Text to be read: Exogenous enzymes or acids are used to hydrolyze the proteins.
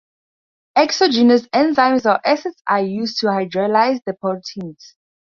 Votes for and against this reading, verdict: 2, 0, accepted